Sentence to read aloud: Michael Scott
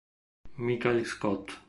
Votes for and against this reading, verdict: 1, 2, rejected